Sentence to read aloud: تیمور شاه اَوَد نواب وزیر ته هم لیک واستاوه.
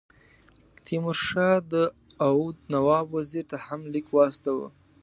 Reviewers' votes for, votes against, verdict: 0, 2, rejected